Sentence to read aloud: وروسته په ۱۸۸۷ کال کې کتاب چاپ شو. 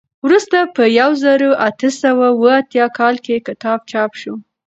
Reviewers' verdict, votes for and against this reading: rejected, 0, 2